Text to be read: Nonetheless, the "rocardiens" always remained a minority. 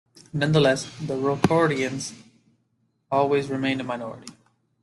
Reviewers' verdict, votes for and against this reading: accepted, 2, 0